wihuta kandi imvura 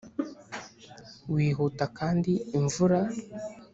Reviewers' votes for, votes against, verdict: 2, 0, accepted